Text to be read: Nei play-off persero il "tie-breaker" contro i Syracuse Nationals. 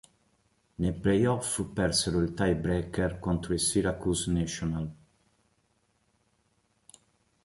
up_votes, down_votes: 2, 1